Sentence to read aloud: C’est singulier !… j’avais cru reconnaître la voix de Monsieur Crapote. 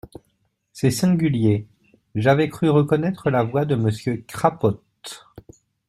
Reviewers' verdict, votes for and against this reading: accepted, 2, 0